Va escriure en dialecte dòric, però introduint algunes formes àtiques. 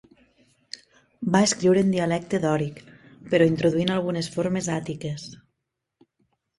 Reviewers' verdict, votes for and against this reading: accepted, 4, 0